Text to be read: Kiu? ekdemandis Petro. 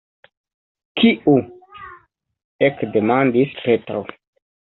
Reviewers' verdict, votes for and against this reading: accepted, 2, 0